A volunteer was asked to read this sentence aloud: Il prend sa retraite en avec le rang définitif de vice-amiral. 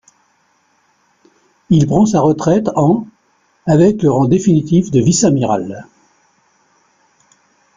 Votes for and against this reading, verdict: 1, 2, rejected